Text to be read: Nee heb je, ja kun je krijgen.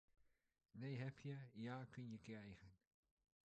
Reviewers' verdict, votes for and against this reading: rejected, 1, 2